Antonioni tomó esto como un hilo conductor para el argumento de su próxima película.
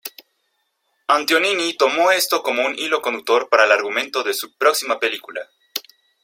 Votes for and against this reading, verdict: 1, 2, rejected